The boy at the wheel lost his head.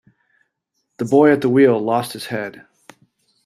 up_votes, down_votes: 2, 0